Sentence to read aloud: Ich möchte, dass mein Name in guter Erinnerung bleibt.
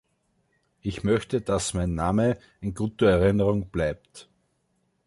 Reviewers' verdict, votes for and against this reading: accepted, 3, 0